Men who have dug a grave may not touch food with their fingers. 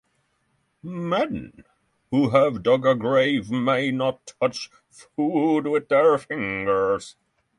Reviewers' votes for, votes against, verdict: 6, 0, accepted